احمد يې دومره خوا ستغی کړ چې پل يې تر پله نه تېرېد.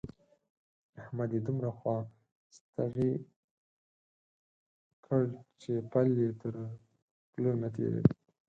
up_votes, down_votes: 0, 4